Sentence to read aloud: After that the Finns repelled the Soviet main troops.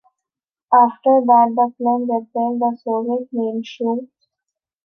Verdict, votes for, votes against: rejected, 0, 2